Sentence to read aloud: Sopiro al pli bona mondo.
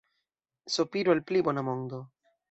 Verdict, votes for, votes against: rejected, 1, 2